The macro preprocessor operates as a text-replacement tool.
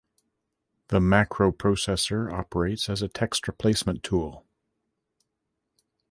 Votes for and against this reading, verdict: 1, 2, rejected